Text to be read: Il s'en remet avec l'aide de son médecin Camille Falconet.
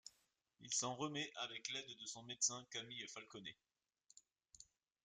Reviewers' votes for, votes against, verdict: 2, 0, accepted